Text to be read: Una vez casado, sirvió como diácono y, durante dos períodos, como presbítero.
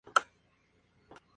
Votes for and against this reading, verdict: 0, 2, rejected